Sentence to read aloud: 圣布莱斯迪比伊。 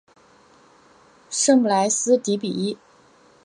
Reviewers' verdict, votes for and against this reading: accepted, 3, 0